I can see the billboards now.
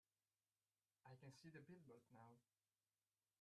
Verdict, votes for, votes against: rejected, 0, 2